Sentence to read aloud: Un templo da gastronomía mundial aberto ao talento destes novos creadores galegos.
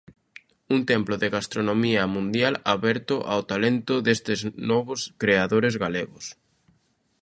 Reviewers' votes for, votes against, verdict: 0, 2, rejected